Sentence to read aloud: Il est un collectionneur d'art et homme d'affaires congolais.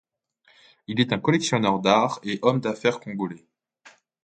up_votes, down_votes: 2, 0